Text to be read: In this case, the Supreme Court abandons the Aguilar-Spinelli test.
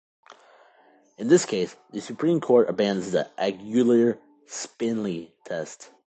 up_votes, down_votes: 1, 2